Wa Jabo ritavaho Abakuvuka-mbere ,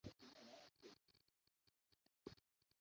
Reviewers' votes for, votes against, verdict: 0, 2, rejected